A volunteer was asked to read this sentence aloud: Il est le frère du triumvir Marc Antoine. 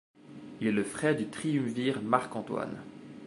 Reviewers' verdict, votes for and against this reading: rejected, 1, 2